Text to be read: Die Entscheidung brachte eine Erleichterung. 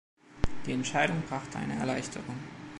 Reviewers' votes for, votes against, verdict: 2, 0, accepted